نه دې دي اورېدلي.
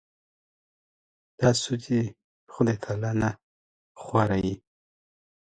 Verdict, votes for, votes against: accepted, 2, 1